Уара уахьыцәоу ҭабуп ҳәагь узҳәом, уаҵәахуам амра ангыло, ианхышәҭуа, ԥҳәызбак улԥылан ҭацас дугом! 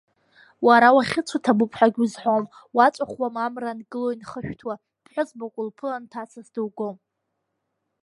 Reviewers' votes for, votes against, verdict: 1, 2, rejected